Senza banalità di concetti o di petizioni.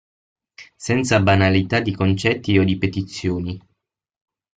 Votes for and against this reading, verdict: 6, 0, accepted